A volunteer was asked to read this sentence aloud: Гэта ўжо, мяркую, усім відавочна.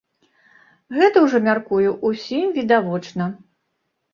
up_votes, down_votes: 2, 0